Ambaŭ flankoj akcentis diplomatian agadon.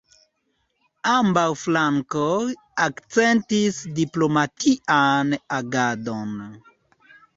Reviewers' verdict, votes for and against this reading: accepted, 2, 0